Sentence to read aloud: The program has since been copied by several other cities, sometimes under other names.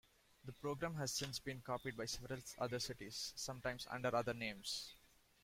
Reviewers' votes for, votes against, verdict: 2, 1, accepted